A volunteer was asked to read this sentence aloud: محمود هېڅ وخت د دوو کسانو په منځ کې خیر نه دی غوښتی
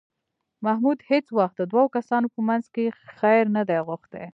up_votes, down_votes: 1, 2